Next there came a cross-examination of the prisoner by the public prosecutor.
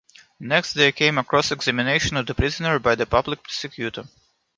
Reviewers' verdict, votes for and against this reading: accepted, 2, 1